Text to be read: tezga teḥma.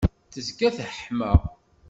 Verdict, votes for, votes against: accepted, 2, 0